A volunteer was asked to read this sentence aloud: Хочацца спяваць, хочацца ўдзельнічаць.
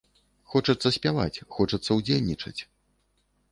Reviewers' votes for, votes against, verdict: 2, 0, accepted